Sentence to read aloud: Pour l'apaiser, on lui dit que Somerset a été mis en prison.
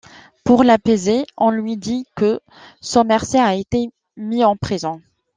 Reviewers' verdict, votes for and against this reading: accepted, 2, 0